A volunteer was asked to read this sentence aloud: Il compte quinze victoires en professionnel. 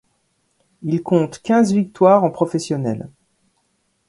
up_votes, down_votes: 2, 0